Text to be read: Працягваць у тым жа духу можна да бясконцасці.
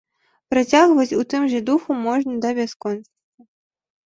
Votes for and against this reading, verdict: 1, 2, rejected